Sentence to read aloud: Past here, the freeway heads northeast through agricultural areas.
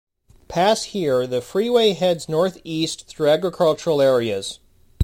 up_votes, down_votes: 2, 0